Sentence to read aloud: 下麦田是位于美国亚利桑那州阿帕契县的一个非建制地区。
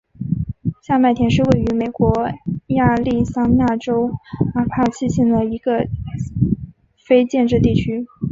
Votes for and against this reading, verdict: 2, 0, accepted